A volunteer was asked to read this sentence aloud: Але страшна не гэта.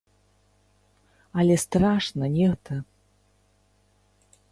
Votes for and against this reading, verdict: 1, 3, rejected